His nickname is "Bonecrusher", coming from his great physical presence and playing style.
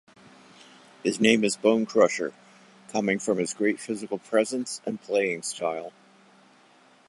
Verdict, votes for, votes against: rejected, 1, 2